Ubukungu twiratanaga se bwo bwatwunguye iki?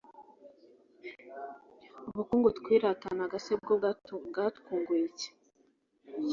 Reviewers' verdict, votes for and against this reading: rejected, 0, 2